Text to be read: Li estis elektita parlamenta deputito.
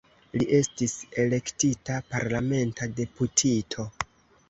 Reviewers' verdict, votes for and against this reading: rejected, 1, 2